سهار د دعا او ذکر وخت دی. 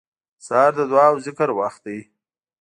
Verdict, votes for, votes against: accepted, 2, 0